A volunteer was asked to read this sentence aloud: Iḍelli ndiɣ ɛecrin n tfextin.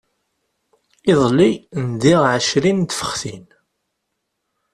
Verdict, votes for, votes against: accepted, 2, 0